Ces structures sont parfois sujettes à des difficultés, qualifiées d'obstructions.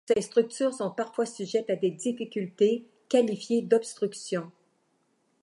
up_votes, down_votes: 2, 1